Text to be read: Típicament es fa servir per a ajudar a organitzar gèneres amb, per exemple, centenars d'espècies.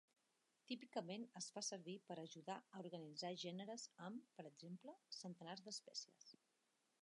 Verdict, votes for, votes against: accepted, 3, 0